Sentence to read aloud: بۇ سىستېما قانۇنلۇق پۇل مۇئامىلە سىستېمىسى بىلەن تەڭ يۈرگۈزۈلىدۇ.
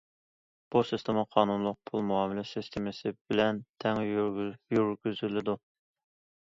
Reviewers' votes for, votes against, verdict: 2, 1, accepted